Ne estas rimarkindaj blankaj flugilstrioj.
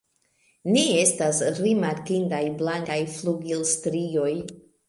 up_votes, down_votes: 1, 2